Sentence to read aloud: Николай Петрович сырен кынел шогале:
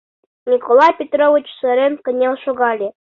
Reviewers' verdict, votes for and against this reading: accepted, 2, 0